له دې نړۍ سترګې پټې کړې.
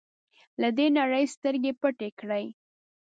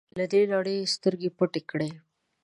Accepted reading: second